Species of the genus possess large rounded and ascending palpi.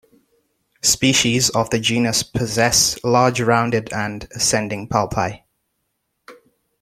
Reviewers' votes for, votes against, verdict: 2, 0, accepted